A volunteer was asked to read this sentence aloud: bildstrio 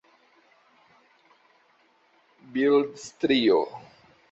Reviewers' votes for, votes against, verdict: 0, 2, rejected